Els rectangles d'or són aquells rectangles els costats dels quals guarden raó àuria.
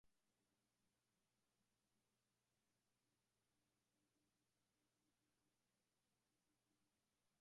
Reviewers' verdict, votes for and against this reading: rejected, 0, 2